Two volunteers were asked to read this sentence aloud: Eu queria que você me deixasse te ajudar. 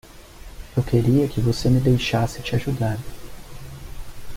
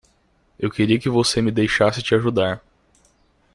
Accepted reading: second